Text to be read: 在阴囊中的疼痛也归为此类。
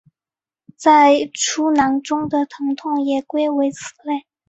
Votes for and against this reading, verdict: 0, 2, rejected